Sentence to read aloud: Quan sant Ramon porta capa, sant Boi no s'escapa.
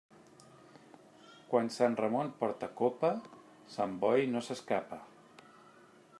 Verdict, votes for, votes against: rejected, 1, 2